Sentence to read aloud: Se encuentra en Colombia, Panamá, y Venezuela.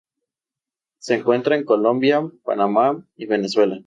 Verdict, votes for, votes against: accepted, 2, 0